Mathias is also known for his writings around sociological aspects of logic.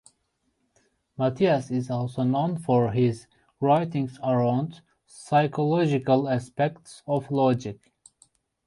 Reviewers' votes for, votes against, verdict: 0, 2, rejected